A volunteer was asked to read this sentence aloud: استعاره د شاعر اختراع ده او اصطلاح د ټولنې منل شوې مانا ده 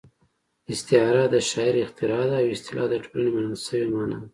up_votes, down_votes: 2, 0